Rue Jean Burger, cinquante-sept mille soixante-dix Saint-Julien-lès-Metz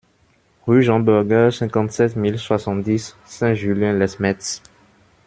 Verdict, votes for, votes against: rejected, 0, 2